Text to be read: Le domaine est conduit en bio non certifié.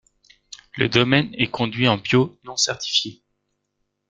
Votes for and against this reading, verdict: 1, 2, rejected